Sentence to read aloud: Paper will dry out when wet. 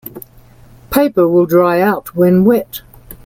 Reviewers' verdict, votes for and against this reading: accepted, 2, 0